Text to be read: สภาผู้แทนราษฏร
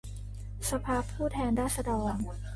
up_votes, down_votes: 2, 1